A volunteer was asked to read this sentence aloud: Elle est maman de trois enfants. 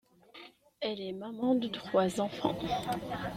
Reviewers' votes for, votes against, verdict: 2, 0, accepted